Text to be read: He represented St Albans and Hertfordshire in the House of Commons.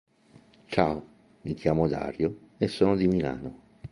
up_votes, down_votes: 0, 2